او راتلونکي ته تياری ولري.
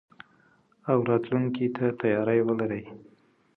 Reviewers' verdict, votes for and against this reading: accepted, 2, 0